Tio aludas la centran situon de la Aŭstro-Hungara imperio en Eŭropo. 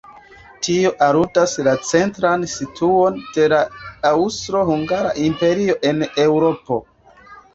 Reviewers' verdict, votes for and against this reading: accepted, 2, 0